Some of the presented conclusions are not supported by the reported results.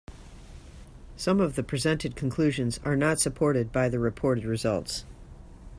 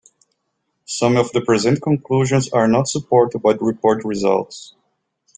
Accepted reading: first